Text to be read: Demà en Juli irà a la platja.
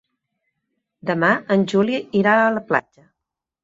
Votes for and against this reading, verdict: 1, 2, rejected